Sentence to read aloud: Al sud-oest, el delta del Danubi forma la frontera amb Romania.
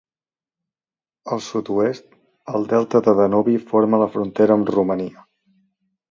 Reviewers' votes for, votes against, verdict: 2, 0, accepted